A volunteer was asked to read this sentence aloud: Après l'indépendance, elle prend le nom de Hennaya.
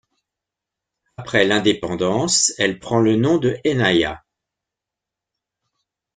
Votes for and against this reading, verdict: 2, 0, accepted